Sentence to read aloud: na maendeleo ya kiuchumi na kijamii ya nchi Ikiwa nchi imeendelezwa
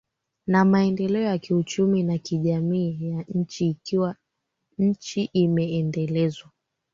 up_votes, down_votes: 2, 1